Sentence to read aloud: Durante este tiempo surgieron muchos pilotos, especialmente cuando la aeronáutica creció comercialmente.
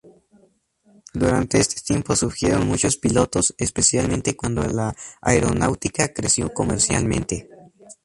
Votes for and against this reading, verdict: 0, 2, rejected